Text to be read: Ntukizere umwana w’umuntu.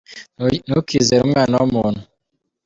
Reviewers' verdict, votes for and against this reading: accepted, 2, 0